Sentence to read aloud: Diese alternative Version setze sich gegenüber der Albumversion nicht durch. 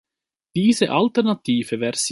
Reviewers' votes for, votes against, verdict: 0, 2, rejected